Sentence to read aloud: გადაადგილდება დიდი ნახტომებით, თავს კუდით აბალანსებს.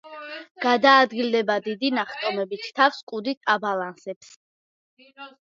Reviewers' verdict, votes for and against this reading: rejected, 1, 2